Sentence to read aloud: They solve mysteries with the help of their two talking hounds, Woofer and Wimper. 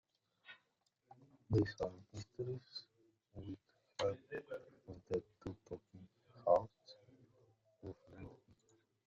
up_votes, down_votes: 0, 2